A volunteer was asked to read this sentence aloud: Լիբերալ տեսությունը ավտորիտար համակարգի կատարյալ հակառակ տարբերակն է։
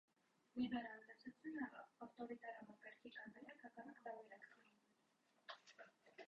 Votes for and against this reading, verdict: 0, 2, rejected